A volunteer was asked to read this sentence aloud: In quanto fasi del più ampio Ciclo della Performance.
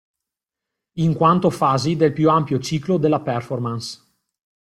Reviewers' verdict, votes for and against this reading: accepted, 2, 0